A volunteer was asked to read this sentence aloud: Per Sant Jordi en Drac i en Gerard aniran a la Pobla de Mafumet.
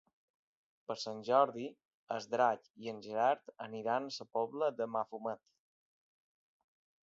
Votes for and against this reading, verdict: 0, 2, rejected